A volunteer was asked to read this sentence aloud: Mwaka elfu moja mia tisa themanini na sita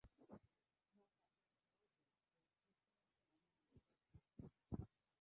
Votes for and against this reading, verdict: 1, 2, rejected